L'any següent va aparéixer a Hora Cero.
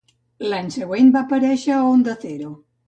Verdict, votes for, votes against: rejected, 1, 2